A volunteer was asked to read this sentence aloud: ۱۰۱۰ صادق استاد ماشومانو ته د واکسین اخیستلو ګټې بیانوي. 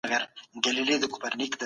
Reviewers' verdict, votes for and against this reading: rejected, 0, 2